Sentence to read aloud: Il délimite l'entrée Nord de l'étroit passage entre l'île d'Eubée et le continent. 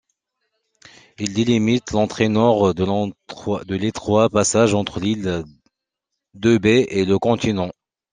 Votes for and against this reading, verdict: 1, 2, rejected